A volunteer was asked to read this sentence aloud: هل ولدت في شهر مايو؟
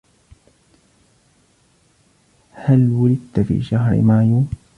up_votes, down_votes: 2, 0